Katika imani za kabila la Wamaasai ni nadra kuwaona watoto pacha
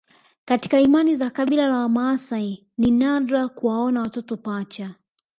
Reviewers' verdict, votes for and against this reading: accepted, 2, 0